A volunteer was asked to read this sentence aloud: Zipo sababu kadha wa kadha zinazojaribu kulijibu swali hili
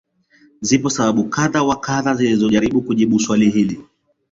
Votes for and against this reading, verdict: 0, 2, rejected